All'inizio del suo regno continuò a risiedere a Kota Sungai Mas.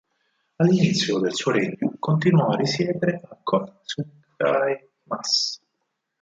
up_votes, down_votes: 2, 8